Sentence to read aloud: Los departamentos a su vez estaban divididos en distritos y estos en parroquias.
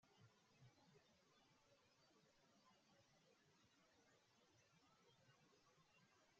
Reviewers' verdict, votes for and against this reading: rejected, 0, 2